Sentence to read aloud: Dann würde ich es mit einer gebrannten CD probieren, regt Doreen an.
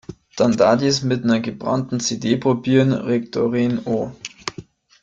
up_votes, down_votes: 0, 2